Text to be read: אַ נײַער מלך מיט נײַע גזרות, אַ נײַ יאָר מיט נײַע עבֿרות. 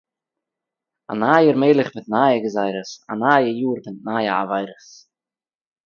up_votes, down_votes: 3, 1